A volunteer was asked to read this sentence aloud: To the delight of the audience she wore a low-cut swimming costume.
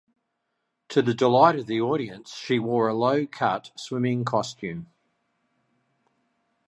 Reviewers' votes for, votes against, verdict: 2, 0, accepted